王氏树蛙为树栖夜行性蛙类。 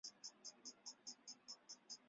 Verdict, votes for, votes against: rejected, 1, 3